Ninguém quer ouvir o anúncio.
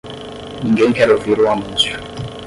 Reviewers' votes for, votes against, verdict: 0, 10, rejected